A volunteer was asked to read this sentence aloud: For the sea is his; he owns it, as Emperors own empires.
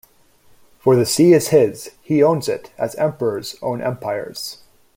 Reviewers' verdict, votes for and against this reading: accepted, 2, 0